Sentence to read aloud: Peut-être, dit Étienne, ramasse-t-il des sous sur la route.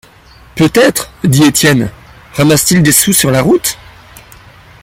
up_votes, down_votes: 2, 0